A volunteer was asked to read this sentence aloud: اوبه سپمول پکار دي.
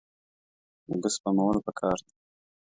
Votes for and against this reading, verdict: 2, 0, accepted